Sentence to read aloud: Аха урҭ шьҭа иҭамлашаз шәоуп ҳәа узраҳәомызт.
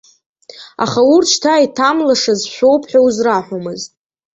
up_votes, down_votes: 2, 0